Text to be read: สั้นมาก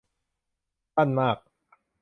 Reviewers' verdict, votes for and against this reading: accepted, 2, 0